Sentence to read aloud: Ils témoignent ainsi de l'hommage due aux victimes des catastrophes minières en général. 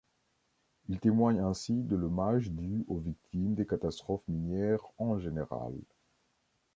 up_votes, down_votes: 2, 0